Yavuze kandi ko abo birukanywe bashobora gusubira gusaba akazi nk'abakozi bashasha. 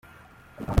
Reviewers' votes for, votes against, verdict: 0, 2, rejected